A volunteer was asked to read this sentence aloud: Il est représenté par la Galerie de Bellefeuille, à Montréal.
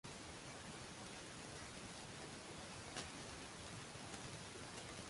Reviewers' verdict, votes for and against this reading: rejected, 0, 3